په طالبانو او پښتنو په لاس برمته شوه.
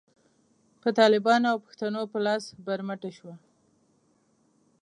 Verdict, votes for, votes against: accepted, 2, 0